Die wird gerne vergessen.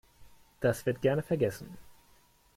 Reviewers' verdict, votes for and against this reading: rejected, 0, 2